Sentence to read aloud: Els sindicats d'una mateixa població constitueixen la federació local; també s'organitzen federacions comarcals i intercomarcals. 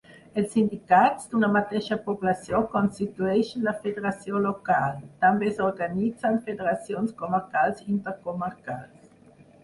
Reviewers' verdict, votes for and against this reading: accepted, 4, 0